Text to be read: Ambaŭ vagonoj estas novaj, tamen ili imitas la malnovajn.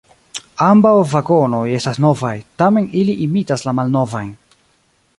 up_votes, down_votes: 2, 0